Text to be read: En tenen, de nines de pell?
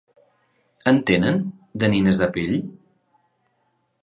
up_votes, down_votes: 3, 0